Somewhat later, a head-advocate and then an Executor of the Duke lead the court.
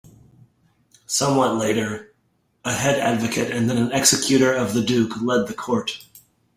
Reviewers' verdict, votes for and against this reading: rejected, 1, 2